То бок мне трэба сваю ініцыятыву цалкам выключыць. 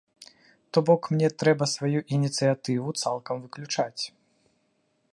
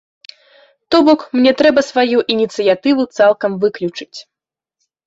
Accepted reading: second